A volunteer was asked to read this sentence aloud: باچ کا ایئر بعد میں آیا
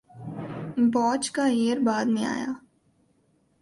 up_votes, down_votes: 2, 0